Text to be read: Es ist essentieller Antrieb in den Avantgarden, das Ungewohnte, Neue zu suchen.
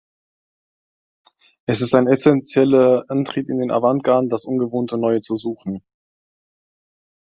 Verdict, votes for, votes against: rejected, 1, 2